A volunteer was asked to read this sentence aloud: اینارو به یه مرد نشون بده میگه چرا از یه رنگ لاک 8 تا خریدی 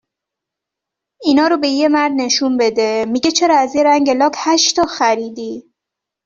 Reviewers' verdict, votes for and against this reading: rejected, 0, 2